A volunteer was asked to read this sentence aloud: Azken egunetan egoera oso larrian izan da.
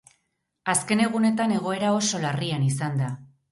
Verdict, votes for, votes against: accepted, 6, 0